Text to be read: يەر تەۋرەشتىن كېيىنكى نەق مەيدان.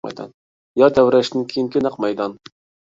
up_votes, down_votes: 1, 2